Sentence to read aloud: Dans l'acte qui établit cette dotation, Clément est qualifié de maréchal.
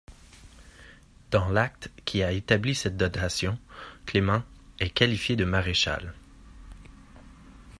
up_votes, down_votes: 0, 2